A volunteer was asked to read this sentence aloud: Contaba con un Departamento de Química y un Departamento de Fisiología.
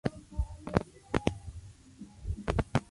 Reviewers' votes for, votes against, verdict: 0, 2, rejected